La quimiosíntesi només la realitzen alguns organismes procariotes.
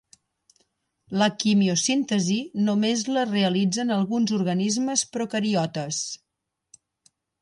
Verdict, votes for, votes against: accepted, 3, 0